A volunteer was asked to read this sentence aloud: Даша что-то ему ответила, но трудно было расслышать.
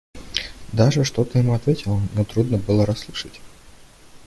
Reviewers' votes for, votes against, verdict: 2, 0, accepted